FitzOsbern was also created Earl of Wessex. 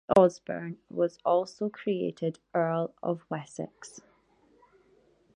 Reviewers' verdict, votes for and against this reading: rejected, 0, 2